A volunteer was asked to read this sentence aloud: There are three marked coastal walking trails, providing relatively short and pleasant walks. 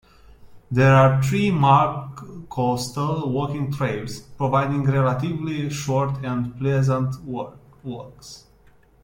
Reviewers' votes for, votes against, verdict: 0, 2, rejected